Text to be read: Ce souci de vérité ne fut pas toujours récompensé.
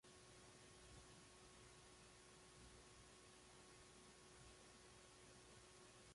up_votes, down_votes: 0, 2